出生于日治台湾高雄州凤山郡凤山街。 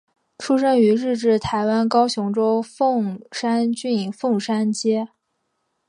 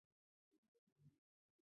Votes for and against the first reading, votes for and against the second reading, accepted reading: 2, 0, 0, 2, first